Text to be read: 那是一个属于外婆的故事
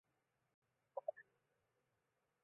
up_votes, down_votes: 0, 2